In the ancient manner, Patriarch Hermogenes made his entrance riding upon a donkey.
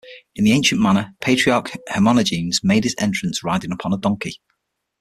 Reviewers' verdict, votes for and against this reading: rejected, 0, 6